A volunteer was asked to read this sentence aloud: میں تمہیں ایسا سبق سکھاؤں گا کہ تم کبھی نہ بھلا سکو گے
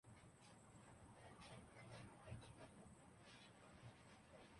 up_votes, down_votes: 0, 2